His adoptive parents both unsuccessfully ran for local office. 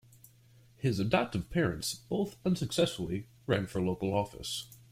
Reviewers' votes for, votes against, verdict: 2, 0, accepted